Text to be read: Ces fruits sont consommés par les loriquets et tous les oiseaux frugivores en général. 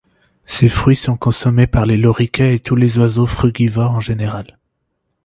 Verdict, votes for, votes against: rejected, 0, 2